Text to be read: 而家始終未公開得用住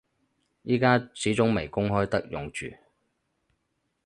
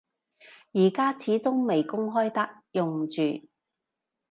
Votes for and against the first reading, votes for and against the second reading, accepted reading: 2, 4, 2, 0, second